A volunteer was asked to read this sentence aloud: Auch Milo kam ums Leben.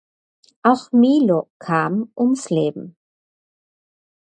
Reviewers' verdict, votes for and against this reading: accepted, 6, 0